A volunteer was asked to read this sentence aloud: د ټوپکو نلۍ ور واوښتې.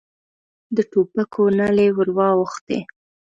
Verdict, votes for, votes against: accepted, 2, 0